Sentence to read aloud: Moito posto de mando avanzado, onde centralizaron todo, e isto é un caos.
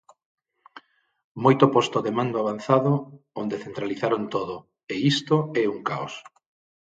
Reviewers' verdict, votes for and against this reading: accepted, 6, 0